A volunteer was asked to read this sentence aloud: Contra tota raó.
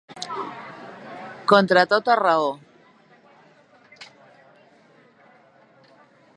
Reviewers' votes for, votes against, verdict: 2, 0, accepted